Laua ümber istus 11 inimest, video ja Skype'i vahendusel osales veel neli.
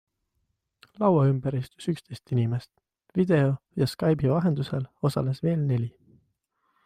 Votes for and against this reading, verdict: 0, 2, rejected